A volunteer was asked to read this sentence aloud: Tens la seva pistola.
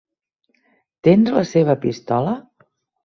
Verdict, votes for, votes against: rejected, 1, 2